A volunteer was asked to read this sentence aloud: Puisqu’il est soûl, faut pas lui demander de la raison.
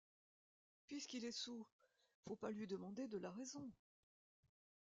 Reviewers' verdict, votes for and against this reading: rejected, 0, 2